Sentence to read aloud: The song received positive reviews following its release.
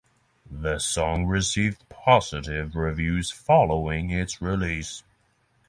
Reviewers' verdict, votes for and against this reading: accepted, 6, 0